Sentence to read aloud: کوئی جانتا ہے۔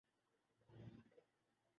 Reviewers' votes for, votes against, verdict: 0, 2, rejected